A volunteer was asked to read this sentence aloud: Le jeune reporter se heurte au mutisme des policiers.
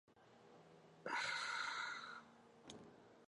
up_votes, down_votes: 0, 2